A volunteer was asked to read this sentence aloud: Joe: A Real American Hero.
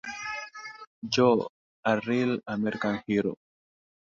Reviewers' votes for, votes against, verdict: 3, 0, accepted